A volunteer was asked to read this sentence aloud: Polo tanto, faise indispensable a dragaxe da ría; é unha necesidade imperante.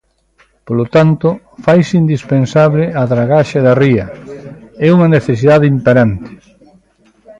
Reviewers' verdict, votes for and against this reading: accepted, 2, 0